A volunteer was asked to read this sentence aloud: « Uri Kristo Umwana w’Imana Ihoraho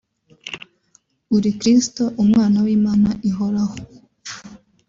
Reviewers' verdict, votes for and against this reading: accepted, 3, 0